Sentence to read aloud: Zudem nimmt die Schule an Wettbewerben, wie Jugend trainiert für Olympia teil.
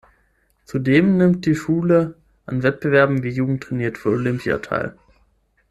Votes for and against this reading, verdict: 3, 6, rejected